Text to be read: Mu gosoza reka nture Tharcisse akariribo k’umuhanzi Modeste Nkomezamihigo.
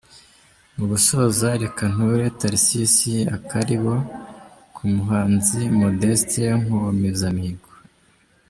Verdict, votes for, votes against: rejected, 1, 2